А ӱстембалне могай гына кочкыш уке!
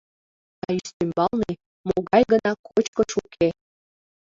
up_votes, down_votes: 0, 2